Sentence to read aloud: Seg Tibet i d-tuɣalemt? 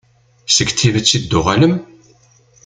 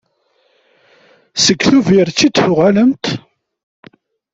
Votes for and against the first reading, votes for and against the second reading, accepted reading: 1, 2, 2, 0, second